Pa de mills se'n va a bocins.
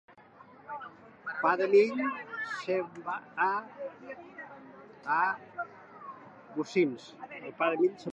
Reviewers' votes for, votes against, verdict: 0, 3, rejected